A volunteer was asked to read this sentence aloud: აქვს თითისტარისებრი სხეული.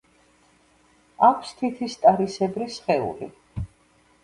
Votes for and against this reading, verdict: 2, 0, accepted